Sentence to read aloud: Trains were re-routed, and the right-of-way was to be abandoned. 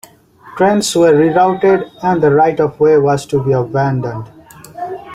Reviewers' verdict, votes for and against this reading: rejected, 1, 2